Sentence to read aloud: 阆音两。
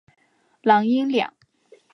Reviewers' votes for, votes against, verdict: 2, 3, rejected